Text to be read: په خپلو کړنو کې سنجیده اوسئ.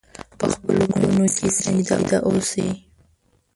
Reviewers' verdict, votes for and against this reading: rejected, 1, 2